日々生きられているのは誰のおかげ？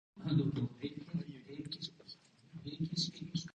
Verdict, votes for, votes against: rejected, 1, 2